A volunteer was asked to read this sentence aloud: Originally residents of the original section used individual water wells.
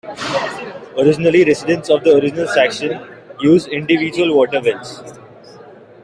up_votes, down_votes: 2, 1